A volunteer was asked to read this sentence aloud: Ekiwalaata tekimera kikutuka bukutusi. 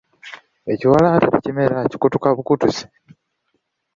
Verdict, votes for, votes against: accepted, 2, 0